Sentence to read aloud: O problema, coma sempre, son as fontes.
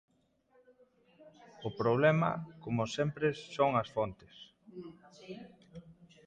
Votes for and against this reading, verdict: 1, 2, rejected